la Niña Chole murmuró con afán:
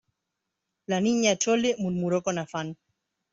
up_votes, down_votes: 2, 0